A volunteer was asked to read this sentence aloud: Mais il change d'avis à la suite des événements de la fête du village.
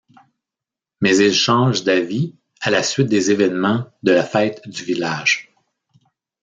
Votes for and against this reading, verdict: 2, 1, accepted